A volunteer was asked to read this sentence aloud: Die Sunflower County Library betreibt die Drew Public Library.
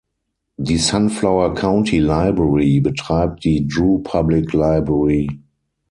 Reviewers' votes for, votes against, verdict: 3, 9, rejected